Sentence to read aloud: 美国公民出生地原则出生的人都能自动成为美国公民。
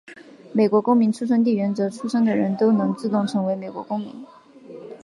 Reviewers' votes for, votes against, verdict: 2, 1, accepted